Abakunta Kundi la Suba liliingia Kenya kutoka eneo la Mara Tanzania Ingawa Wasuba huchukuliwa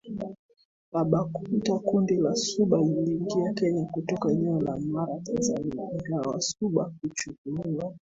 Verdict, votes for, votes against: accepted, 2, 1